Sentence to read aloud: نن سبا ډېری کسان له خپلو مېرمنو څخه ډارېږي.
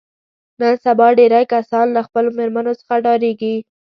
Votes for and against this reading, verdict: 2, 0, accepted